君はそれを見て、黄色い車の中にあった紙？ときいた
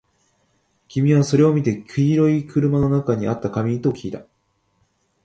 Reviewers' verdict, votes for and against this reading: accepted, 4, 0